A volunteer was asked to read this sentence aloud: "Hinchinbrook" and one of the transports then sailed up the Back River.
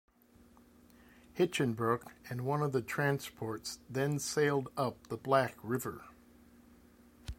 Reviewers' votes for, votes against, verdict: 1, 2, rejected